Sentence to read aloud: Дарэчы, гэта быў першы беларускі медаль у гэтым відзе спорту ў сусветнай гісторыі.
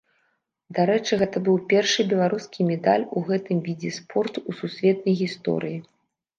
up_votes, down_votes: 2, 0